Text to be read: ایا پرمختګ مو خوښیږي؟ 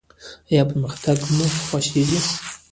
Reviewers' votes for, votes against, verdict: 0, 2, rejected